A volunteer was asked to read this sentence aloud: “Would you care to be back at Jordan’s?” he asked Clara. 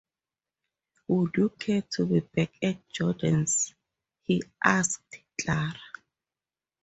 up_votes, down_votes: 4, 0